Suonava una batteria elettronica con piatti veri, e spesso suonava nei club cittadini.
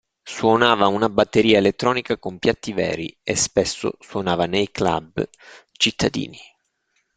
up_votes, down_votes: 2, 0